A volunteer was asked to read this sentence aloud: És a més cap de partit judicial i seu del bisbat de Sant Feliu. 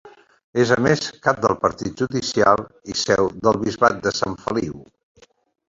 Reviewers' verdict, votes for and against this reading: accepted, 2, 1